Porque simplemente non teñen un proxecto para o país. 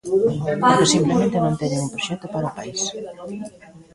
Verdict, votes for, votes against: rejected, 0, 2